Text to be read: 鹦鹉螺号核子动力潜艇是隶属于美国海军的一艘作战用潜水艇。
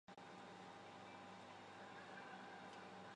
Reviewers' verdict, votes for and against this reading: rejected, 0, 2